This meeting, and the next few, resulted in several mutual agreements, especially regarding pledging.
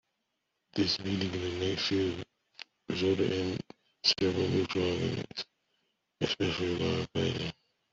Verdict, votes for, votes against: rejected, 1, 2